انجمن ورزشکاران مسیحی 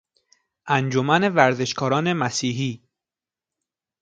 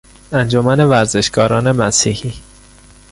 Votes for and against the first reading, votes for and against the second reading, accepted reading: 2, 0, 1, 2, first